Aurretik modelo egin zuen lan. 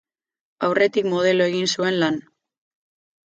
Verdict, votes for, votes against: rejected, 2, 2